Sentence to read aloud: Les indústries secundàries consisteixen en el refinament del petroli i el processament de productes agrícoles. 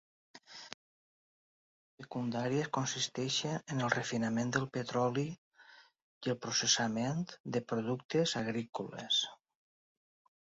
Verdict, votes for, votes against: rejected, 1, 2